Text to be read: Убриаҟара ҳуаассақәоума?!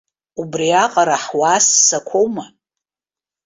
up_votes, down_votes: 2, 0